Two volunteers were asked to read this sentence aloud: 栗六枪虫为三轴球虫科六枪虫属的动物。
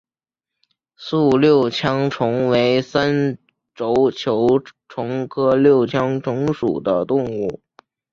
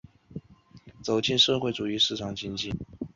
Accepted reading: first